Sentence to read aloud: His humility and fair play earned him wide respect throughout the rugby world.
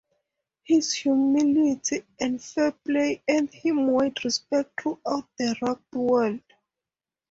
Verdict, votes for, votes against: rejected, 0, 2